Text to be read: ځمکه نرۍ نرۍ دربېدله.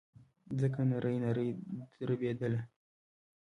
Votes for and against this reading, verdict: 1, 2, rejected